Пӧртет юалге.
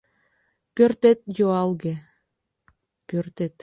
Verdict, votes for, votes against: rejected, 0, 2